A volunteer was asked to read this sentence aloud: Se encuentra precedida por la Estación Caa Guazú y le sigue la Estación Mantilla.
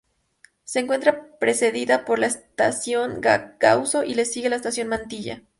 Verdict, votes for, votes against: rejected, 0, 2